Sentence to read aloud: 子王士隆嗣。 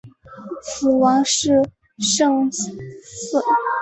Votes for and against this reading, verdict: 0, 5, rejected